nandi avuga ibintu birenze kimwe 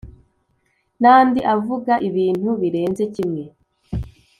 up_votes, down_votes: 2, 0